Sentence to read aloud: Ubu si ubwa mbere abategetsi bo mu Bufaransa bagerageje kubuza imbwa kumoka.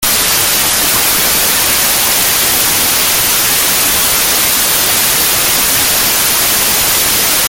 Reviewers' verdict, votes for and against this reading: rejected, 0, 3